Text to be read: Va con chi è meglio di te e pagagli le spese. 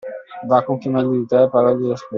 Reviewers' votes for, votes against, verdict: 0, 2, rejected